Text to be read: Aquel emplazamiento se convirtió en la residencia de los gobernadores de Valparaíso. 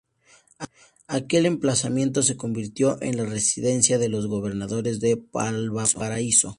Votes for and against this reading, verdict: 0, 2, rejected